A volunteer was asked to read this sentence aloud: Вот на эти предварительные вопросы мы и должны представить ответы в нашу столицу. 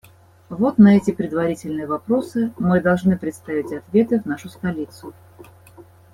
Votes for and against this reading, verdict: 1, 2, rejected